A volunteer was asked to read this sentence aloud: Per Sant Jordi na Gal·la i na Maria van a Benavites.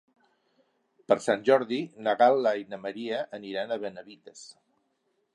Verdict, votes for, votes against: rejected, 0, 2